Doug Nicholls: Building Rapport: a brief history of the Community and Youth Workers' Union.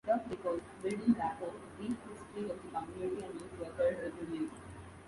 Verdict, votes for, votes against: rejected, 0, 2